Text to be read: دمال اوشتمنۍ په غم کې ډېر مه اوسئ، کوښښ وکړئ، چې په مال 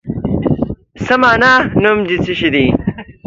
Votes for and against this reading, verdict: 0, 2, rejected